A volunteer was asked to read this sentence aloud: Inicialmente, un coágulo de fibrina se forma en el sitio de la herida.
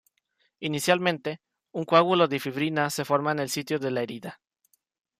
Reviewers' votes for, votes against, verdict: 2, 0, accepted